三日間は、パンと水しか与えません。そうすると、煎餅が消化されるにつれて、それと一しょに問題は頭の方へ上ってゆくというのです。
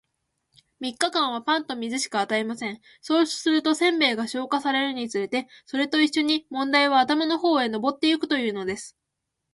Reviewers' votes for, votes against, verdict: 2, 1, accepted